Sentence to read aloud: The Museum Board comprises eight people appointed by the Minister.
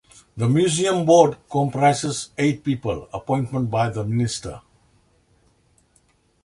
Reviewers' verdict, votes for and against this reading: rejected, 2, 3